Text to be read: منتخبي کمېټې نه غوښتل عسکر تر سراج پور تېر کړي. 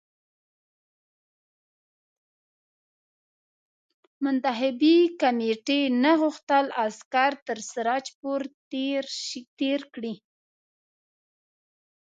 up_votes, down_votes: 0, 2